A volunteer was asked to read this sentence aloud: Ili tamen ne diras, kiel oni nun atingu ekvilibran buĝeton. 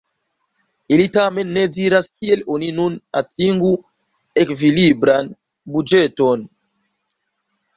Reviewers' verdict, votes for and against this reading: accepted, 3, 0